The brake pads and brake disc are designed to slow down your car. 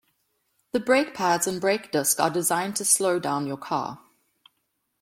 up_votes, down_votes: 2, 0